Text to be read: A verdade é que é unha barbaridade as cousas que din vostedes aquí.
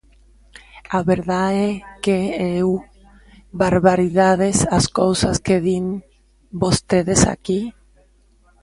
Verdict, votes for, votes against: rejected, 0, 2